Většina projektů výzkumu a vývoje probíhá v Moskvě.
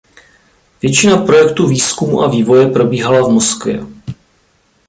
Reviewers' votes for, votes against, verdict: 1, 2, rejected